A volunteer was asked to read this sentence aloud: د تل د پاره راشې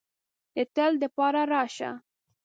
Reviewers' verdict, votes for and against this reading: rejected, 1, 2